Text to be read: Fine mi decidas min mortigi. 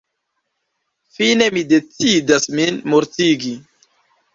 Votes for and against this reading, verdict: 2, 0, accepted